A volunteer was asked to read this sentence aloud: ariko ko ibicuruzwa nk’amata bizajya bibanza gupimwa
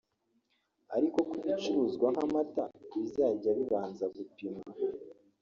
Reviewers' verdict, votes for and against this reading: rejected, 0, 2